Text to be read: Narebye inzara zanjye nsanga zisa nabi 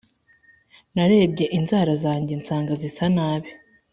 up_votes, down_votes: 2, 0